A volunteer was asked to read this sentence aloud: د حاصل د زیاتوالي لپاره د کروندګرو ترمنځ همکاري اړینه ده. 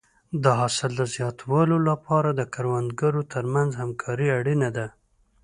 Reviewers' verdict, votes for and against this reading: accepted, 5, 0